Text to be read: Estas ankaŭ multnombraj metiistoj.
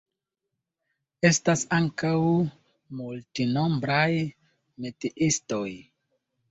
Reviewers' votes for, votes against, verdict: 2, 1, accepted